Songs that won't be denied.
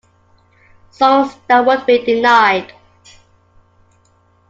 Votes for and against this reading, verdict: 2, 1, accepted